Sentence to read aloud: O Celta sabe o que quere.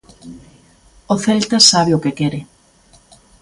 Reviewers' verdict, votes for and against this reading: accepted, 2, 0